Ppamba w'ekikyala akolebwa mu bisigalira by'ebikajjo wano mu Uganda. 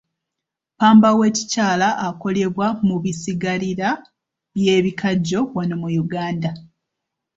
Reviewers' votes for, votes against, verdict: 2, 0, accepted